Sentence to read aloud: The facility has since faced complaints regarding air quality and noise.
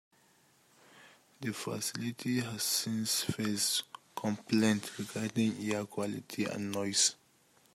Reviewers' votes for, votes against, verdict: 1, 2, rejected